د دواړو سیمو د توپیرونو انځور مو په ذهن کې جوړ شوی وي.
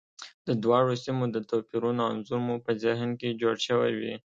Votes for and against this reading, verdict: 2, 0, accepted